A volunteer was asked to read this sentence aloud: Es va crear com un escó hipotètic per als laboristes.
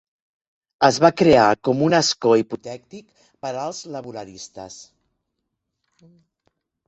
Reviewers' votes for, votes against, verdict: 2, 3, rejected